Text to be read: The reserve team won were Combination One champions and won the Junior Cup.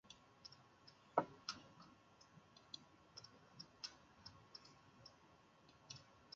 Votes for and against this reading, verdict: 0, 2, rejected